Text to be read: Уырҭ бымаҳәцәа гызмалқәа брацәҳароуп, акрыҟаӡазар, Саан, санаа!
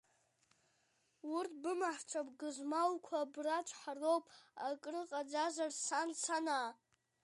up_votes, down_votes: 1, 2